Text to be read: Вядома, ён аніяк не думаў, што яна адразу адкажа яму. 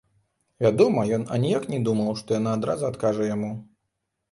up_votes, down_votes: 2, 0